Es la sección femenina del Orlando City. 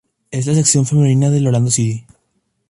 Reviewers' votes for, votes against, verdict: 0, 2, rejected